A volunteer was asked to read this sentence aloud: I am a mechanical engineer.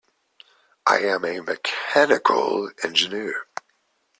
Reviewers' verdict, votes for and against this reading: accepted, 2, 0